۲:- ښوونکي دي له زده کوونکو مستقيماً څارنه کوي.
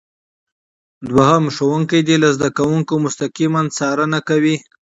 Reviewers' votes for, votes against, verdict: 0, 2, rejected